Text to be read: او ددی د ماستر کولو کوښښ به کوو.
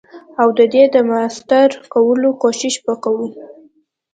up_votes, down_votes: 2, 0